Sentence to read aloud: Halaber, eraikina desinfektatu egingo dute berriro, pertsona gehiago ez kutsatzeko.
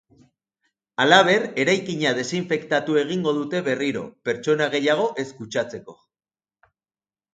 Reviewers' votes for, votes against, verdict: 4, 0, accepted